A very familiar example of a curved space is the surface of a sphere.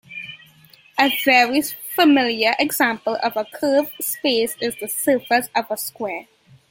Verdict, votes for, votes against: rejected, 1, 2